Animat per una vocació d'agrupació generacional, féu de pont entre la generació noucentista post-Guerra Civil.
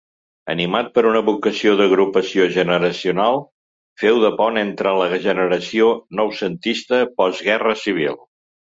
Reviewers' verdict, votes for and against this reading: accepted, 2, 0